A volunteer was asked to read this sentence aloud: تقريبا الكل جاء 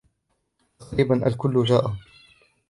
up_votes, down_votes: 0, 3